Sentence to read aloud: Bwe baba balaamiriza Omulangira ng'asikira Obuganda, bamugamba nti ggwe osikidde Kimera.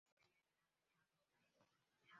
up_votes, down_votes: 0, 2